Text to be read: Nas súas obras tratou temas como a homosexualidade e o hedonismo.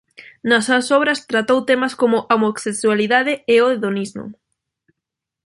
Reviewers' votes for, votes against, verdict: 0, 2, rejected